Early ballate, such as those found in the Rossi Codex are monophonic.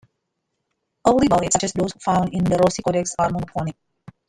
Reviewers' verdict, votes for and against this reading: rejected, 0, 2